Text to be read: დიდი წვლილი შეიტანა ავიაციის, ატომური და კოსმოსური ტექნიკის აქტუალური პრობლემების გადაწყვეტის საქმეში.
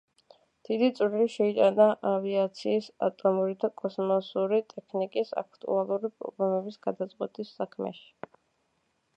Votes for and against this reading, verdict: 1, 2, rejected